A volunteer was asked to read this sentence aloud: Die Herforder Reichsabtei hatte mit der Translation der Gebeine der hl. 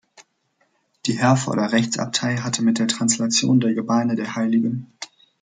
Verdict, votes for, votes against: rejected, 0, 2